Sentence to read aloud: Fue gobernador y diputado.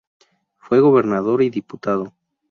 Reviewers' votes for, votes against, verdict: 4, 0, accepted